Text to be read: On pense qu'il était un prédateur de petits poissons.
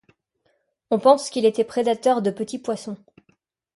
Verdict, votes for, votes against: rejected, 1, 2